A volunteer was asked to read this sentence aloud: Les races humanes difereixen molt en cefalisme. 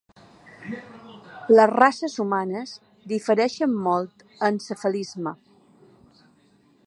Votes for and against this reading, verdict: 2, 0, accepted